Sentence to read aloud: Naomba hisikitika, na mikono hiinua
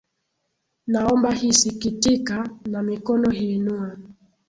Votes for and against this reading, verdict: 0, 2, rejected